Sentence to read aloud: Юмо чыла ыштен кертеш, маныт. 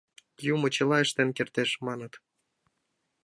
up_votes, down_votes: 2, 0